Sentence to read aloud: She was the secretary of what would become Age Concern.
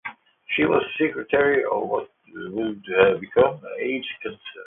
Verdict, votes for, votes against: accepted, 2, 0